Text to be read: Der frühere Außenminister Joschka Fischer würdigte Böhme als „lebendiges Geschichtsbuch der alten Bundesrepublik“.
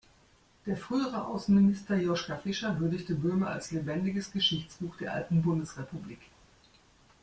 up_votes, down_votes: 2, 0